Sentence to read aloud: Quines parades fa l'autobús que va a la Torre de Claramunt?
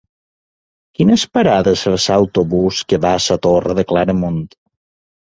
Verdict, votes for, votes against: rejected, 1, 2